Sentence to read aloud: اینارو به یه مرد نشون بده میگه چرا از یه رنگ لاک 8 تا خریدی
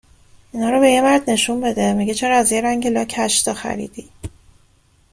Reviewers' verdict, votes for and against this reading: rejected, 0, 2